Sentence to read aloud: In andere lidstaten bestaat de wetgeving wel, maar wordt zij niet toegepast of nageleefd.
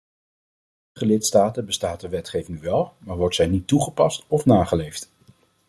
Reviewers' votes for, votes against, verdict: 0, 2, rejected